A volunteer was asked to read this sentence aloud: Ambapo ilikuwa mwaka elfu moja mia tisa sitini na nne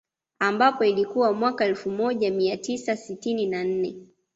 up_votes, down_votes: 2, 0